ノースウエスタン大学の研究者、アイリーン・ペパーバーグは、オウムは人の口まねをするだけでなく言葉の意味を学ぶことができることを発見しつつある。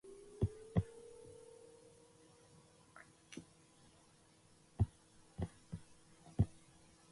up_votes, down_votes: 0, 2